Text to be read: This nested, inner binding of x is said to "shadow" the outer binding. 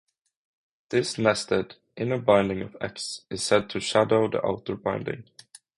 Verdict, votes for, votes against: accepted, 3, 0